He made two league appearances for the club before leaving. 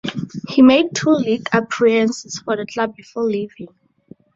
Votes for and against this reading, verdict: 2, 0, accepted